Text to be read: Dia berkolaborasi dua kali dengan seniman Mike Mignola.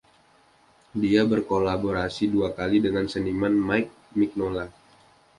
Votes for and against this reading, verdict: 1, 2, rejected